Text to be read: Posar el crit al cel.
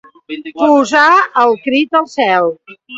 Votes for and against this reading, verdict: 1, 3, rejected